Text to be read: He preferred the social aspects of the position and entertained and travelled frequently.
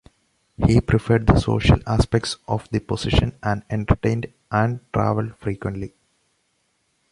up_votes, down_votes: 2, 0